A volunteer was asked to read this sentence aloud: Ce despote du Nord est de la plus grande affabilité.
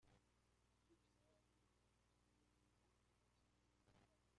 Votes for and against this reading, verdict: 0, 2, rejected